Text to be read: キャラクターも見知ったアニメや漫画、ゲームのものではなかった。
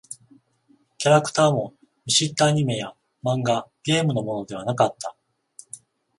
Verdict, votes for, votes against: accepted, 14, 7